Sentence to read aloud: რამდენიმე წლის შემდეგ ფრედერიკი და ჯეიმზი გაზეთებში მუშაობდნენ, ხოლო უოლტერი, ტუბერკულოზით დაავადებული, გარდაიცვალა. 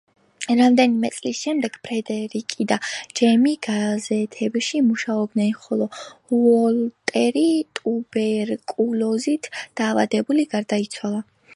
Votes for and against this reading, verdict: 0, 2, rejected